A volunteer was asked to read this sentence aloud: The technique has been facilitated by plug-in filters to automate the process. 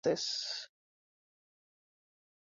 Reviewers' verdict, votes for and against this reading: rejected, 0, 2